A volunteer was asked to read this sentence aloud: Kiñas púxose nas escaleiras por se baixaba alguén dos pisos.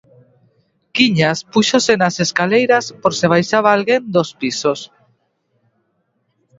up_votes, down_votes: 2, 0